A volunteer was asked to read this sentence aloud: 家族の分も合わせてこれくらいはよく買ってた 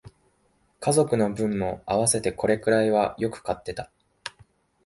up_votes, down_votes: 2, 0